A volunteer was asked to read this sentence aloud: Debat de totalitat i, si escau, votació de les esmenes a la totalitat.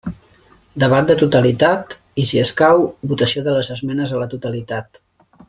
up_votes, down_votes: 3, 0